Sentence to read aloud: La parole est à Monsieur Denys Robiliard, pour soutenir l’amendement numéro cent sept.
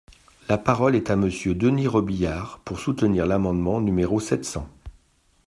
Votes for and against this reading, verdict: 1, 2, rejected